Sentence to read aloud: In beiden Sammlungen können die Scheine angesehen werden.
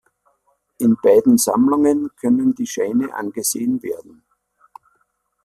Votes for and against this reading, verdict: 2, 0, accepted